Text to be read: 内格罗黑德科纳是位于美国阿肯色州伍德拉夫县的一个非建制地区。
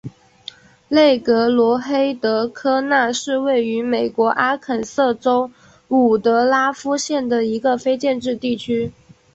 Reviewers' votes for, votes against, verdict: 4, 1, accepted